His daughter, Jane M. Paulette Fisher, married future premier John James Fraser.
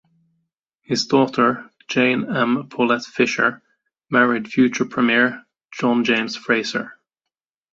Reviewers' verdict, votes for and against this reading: accepted, 2, 0